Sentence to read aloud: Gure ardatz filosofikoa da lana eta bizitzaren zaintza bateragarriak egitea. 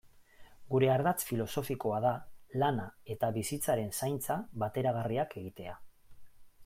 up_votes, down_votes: 2, 0